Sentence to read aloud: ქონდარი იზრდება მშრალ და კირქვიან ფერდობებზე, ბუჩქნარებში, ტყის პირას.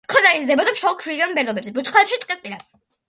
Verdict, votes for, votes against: rejected, 0, 2